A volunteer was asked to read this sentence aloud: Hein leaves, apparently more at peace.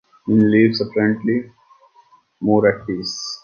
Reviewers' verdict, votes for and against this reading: rejected, 0, 2